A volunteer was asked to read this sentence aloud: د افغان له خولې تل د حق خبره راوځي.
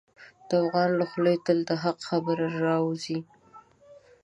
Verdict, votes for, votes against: accepted, 2, 0